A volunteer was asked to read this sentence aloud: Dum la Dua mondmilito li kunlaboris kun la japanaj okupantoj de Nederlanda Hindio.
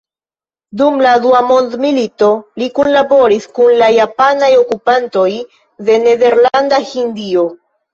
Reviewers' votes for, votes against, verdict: 0, 2, rejected